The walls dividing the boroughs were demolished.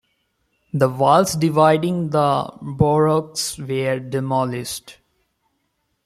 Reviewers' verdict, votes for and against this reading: rejected, 0, 2